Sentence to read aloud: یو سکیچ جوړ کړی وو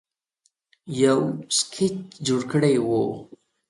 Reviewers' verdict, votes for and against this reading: accepted, 2, 0